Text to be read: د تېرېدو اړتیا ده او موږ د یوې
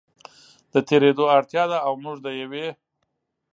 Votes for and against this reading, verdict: 2, 0, accepted